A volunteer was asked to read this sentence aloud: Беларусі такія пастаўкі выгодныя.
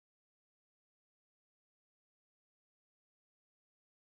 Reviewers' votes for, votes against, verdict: 0, 2, rejected